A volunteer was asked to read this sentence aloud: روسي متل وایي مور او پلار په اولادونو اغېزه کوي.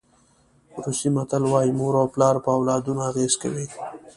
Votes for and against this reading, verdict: 2, 0, accepted